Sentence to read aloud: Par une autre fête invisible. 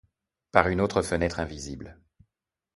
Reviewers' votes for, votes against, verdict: 2, 0, accepted